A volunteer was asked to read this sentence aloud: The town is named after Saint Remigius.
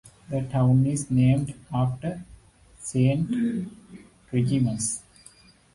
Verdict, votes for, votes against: accepted, 2, 1